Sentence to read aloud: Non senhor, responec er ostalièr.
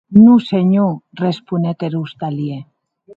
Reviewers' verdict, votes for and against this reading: accepted, 2, 0